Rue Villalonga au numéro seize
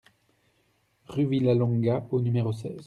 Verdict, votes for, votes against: accepted, 2, 0